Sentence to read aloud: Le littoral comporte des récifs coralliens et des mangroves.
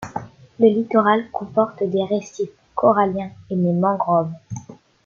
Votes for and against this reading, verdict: 0, 2, rejected